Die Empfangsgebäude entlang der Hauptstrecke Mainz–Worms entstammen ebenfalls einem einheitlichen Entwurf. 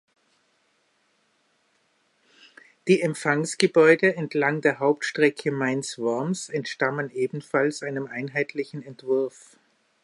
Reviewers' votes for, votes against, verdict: 2, 1, accepted